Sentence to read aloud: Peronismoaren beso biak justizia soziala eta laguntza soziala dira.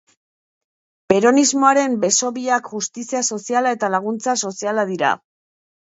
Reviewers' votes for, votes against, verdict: 2, 0, accepted